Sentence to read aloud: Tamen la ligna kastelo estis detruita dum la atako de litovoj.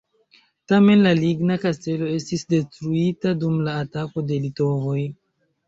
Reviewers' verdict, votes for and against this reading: accepted, 2, 0